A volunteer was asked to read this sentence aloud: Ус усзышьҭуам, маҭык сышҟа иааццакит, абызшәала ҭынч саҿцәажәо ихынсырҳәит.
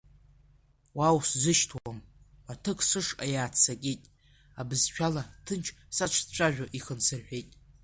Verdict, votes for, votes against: rejected, 1, 2